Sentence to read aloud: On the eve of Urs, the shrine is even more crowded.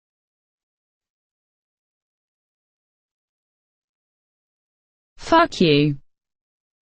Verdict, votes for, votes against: rejected, 0, 2